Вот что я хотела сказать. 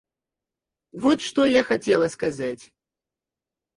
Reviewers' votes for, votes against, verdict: 2, 2, rejected